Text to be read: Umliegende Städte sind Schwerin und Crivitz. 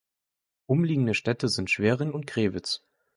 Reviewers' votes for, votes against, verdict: 2, 1, accepted